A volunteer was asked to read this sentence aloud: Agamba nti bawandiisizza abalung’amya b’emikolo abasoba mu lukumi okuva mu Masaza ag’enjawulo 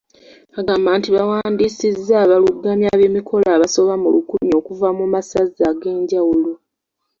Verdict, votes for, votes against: accepted, 2, 0